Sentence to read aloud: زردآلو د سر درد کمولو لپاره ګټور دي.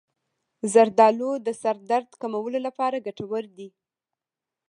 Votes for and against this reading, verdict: 2, 0, accepted